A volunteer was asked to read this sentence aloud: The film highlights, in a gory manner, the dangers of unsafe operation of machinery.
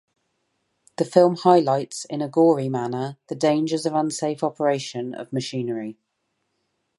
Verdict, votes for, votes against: accepted, 2, 0